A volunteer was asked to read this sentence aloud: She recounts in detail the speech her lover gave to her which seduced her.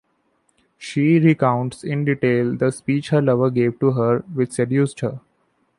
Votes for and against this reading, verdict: 2, 0, accepted